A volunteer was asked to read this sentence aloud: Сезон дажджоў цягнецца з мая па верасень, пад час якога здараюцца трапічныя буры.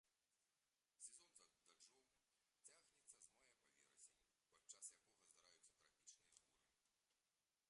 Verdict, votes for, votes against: rejected, 0, 2